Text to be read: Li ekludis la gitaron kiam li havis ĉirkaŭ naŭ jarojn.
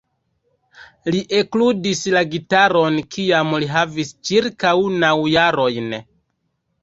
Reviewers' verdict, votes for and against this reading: rejected, 1, 2